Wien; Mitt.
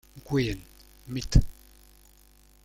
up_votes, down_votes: 1, 2